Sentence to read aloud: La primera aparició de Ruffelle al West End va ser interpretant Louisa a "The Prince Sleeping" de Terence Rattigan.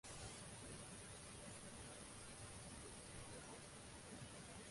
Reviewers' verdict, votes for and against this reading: rejected, 0, 2